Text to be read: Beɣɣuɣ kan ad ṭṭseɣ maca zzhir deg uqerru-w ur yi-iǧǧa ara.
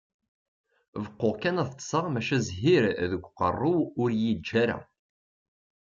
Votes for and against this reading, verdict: 1, 2, rejected